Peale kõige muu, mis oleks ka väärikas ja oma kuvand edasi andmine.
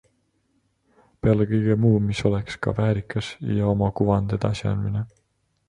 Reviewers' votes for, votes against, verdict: 2, 1, accepted